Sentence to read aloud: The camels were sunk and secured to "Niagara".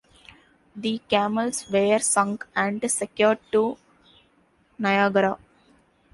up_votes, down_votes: 1, 2